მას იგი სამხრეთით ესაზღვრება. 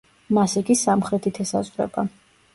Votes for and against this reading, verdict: 1, 2, rejected